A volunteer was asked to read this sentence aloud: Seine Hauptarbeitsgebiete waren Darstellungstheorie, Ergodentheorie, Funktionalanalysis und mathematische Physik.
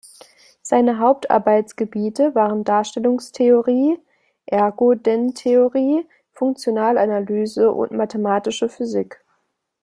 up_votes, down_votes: 0, 2